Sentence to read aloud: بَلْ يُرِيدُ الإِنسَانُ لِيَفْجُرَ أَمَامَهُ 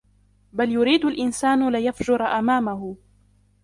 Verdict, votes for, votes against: rejected, 0, 2